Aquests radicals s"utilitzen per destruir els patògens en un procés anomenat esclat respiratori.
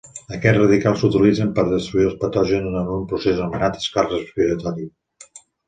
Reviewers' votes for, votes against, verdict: 1, 2, rejected